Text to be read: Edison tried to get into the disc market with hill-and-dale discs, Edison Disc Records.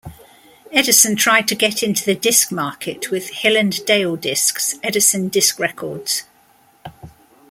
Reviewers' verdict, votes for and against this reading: accepted, 3, 0